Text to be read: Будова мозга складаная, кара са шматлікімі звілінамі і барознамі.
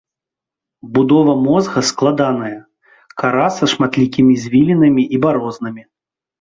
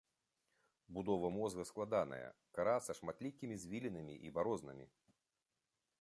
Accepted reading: first